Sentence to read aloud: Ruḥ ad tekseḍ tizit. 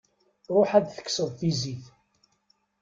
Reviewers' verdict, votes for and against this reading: rejected, 1, 2